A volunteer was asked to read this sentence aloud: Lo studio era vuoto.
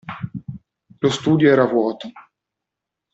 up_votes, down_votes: 2, 0